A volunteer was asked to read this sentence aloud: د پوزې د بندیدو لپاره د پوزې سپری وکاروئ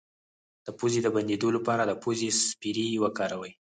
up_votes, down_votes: 2, 4